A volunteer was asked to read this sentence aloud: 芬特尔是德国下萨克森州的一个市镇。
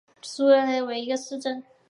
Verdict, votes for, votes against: rejected, 0, 2